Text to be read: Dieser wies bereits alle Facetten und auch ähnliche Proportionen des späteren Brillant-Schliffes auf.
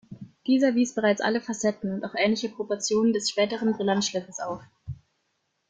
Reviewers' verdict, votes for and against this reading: rejected, 1, 2